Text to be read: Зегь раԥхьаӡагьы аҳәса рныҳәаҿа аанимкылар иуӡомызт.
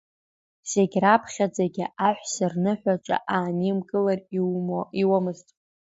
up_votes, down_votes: 1, 2